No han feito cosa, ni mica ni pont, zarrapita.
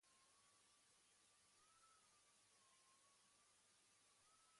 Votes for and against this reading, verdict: 1, 2, rejected